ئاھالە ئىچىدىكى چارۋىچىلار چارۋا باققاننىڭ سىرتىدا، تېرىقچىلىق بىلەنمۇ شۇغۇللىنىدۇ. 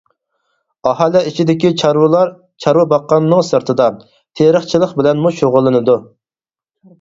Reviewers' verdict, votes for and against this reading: accepted, 4, 0